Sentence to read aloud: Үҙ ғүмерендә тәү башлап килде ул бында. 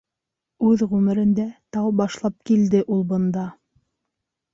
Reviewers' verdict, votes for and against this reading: accepted, 3, 1